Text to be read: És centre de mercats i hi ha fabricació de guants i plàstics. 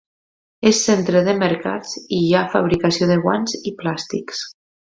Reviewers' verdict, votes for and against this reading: accepted, 2, 0